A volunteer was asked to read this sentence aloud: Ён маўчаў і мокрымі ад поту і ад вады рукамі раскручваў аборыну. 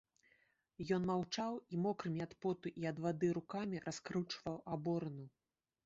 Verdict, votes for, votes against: accepted, 2, 0